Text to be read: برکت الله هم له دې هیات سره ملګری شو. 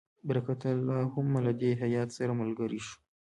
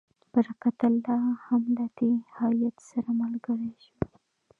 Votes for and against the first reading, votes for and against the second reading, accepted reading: 1, 2, 2, 1, second